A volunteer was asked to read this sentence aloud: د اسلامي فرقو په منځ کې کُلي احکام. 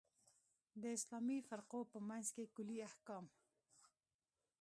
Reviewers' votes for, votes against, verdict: 1, 2, rejected